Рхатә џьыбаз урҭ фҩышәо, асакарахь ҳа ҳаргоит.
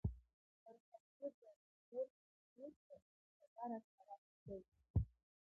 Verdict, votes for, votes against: accepted, 2, 0